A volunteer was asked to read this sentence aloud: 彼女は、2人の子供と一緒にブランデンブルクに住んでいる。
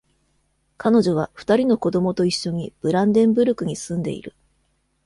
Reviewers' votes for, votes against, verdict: 0, 2, rejected